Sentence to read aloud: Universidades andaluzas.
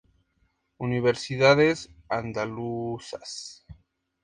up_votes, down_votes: 2, 0